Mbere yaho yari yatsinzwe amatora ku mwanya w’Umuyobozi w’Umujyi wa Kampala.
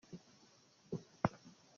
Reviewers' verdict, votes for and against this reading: rejected, 0, 2